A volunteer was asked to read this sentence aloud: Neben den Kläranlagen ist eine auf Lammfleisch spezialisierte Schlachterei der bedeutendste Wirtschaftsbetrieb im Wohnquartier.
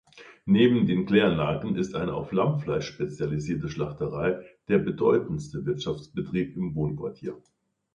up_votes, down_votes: 2, 0